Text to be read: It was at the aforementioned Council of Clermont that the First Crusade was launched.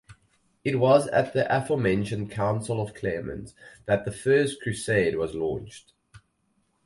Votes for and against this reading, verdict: 2, 2, rejected